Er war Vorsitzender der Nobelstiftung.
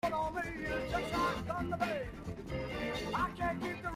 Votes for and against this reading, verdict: 0, 2, rejected